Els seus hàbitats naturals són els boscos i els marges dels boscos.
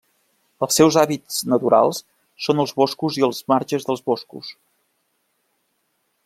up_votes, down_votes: 1, 2